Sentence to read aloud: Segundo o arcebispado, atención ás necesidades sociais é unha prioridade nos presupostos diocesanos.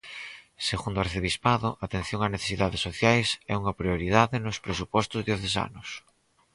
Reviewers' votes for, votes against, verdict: 4, 0, accepted